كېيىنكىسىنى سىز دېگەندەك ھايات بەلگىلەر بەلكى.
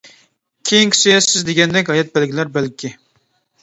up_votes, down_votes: 0, 2